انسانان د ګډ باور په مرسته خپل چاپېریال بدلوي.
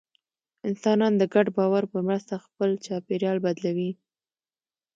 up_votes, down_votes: 2, 0